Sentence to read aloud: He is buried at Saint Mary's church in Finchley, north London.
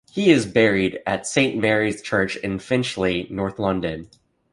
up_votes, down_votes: 2, 0